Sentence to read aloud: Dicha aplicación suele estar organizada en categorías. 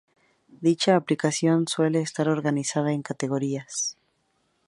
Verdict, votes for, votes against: accepted, 2, 0